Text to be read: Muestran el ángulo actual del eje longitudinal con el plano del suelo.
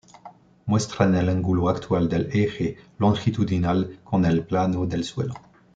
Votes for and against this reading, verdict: 2, 0, accepted